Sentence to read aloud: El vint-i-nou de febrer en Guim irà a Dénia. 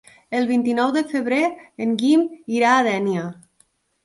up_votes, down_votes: 2, 0